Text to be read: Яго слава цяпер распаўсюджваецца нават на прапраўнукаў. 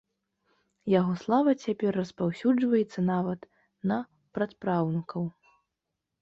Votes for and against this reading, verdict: 1, 2, rejected